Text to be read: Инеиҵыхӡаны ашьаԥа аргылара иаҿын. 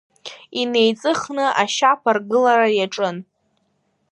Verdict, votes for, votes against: rejected, 0, 2